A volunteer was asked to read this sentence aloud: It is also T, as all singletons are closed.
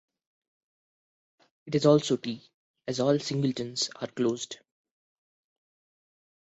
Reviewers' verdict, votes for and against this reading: accepted, 2, 0